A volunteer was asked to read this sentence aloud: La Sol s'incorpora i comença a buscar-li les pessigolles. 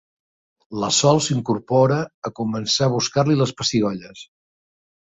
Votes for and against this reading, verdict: 2, 3, rejected